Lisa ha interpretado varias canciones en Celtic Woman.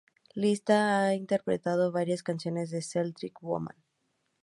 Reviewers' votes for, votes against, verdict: 2, 0, accepted